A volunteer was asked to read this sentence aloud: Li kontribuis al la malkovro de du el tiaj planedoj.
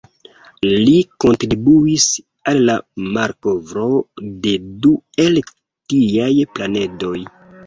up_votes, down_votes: 0, 2